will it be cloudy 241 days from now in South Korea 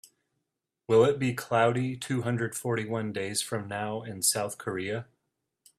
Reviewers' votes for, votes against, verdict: 0, 2, rejected